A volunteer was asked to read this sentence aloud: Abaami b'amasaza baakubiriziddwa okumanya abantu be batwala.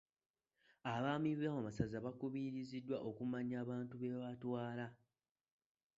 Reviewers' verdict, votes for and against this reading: accepted, 2, 1